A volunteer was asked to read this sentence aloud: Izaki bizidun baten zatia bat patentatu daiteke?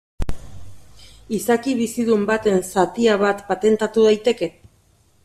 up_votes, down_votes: 3, 0